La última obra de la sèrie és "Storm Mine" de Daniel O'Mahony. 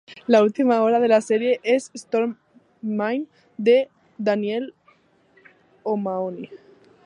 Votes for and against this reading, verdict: 2, 1, accepted